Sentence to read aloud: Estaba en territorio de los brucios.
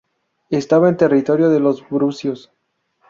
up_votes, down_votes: 2, 0